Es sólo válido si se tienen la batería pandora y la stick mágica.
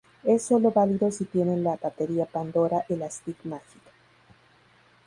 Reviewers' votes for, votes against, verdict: 0, 2, rejected